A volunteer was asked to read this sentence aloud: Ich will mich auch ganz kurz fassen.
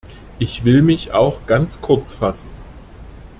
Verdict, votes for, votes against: accepted, 2, 0